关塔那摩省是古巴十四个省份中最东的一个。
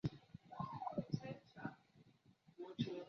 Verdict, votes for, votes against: rejected, 2, 5